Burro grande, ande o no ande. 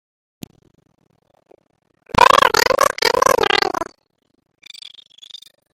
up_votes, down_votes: 0, 3